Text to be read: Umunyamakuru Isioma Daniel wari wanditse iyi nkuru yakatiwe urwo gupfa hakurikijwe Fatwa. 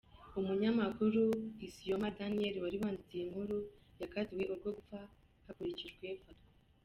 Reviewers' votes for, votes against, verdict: 2, 0, accepted